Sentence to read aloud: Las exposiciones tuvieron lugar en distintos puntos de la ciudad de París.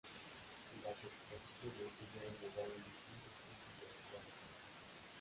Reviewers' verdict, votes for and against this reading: rejected, 0, 3